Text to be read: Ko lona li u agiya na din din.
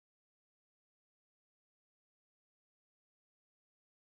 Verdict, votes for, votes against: rejected, 0, 2